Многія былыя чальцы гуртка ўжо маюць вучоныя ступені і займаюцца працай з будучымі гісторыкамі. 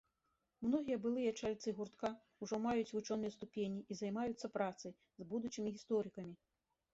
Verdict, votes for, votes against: accepted, 2, 1